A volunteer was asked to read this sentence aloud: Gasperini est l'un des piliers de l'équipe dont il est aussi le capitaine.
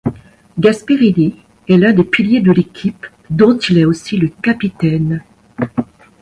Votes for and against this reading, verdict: 2, 0, accepted